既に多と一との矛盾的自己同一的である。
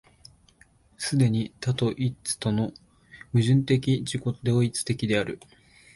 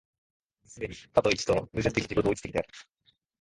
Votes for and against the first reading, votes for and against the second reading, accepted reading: 2, 0, 2, 3, first